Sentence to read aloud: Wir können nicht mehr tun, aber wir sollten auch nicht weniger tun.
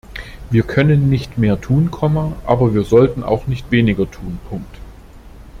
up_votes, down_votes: 0, 2